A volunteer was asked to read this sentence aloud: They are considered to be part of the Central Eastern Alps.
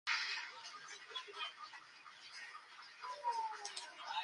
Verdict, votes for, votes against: rejected, 0, 2